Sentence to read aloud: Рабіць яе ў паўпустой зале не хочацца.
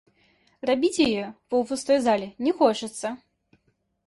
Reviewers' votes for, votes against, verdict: 1, 2, rejected